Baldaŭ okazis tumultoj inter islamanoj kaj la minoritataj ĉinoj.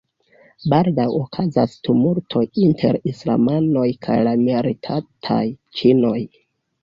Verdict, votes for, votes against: accepted, 2, 0